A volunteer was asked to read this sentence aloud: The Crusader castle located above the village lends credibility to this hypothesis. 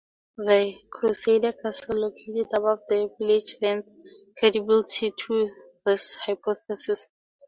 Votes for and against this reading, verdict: 0, 2, rejected